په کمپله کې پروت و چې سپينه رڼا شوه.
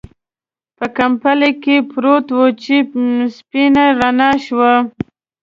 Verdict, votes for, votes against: accepted, 2, 0